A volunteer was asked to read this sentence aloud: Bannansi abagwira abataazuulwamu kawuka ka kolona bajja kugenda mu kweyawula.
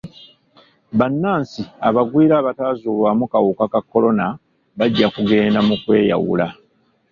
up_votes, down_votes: 0, 2